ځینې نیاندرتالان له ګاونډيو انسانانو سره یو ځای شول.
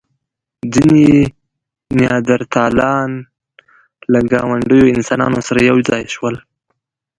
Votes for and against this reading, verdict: 0, 2, rejected